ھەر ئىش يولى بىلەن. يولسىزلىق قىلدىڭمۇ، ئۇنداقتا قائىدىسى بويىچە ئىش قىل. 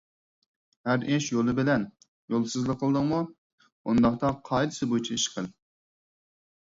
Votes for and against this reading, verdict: 4, 0, accepted